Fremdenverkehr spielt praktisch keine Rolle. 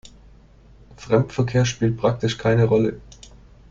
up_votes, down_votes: 1, 2